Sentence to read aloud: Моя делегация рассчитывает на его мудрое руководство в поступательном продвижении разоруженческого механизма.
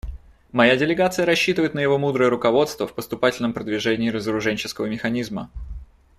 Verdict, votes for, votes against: accepted, 2, 0